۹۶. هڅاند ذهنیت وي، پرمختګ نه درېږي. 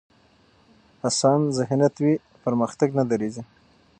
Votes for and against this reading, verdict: 0, 2, rejected